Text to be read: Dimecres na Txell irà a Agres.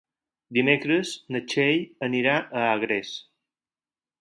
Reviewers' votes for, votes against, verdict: 2, 4, rejected